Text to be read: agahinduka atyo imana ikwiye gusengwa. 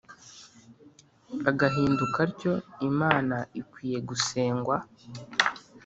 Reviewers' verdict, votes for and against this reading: accepted, 3, 0